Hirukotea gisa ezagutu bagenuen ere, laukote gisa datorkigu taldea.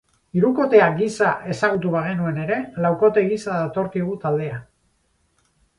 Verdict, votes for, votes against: accepted, 8, 0